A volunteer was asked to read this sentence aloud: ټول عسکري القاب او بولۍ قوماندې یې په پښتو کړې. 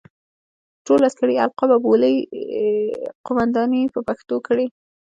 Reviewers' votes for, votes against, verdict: 3, 1, accepted